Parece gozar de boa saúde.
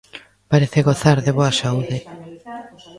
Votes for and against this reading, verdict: 1, 2, rejected